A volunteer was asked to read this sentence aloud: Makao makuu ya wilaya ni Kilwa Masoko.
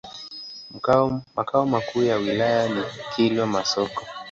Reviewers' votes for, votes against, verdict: 0, 2, rejected